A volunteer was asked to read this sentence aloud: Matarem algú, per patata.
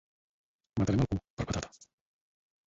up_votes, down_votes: 2, 4